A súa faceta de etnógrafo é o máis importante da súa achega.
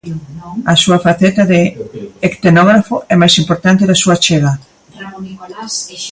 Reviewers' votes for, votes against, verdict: 0, 2, rejected